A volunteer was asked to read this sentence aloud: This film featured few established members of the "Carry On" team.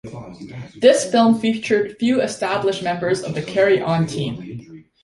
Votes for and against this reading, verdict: 2, 0, accepted